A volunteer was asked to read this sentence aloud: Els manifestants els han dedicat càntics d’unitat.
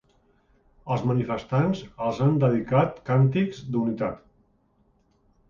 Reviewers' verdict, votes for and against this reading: accepted, 2, 0